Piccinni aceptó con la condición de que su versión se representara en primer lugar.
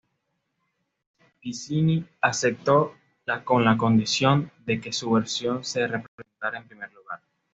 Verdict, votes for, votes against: accepted, 2, 1